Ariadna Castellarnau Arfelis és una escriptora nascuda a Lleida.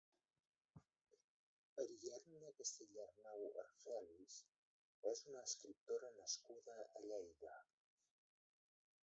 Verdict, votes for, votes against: rejected, 0, 2